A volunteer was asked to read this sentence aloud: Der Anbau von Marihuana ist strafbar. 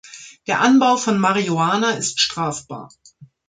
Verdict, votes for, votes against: rejected, 1, 2